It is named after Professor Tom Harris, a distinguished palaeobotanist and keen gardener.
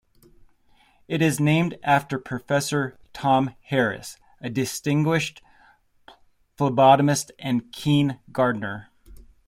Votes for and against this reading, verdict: 1, 2, rejected